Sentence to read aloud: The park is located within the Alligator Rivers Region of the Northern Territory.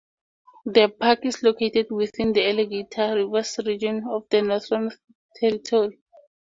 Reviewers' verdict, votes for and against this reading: accepted, 2, 0